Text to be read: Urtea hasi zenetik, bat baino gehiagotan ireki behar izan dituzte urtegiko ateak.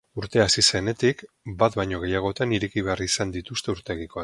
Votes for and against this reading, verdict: 0, 4, rejected